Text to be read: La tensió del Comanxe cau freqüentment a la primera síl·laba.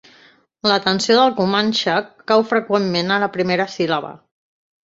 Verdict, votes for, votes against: accepted, 2, 0